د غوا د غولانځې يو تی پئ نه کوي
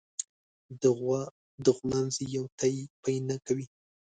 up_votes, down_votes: 1, 2